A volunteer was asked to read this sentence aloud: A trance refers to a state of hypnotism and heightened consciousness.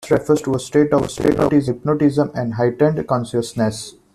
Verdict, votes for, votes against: rejected, 1, 2